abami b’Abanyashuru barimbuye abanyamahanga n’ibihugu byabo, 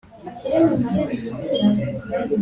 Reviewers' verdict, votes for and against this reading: rejected, 1, 2